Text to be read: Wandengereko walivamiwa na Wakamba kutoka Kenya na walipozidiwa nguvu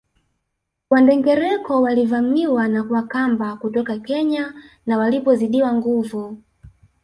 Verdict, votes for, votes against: rejected, 0, 2